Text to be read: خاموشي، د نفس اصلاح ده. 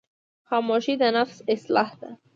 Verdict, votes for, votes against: accepted, 3, 0